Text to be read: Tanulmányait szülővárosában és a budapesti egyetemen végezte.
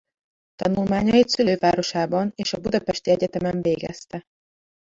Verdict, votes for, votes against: rejected, 1, 2